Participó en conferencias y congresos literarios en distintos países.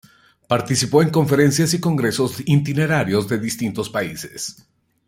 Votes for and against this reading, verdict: 1, 2, rejected